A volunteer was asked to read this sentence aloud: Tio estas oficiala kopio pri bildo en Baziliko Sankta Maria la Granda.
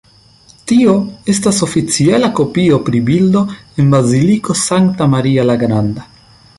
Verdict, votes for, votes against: accepted, 2, 0